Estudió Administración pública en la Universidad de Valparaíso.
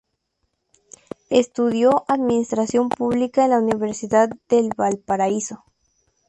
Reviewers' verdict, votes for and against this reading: accepted, 2, 0